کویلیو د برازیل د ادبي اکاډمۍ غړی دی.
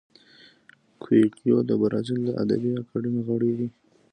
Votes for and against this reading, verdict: 2, 0, accepted